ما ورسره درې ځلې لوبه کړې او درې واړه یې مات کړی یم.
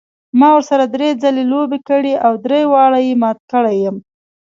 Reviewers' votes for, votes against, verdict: 0, 2, rejected